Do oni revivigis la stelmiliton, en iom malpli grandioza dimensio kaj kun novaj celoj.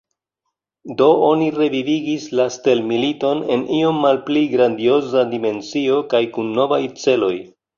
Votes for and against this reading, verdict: 0, 3, rejected